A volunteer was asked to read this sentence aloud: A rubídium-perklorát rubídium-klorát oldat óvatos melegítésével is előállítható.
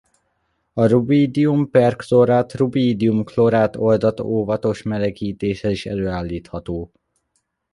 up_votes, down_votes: 1, 2